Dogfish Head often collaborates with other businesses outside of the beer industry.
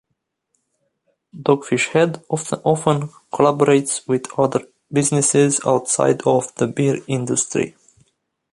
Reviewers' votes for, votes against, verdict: 0, 2, rejected